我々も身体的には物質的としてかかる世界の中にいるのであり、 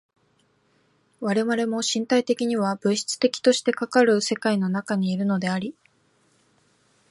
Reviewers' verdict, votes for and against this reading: accepted, 2, 0